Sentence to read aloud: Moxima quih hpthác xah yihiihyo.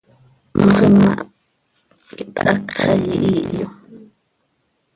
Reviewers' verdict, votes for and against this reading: rejected, 0, 2